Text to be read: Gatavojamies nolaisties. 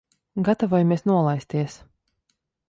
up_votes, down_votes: 2, 0